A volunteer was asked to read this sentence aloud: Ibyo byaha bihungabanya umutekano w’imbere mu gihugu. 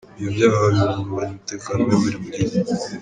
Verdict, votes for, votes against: rejected, 1, 3